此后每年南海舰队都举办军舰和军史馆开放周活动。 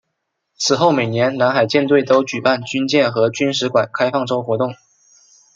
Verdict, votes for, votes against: accepted, 2, 0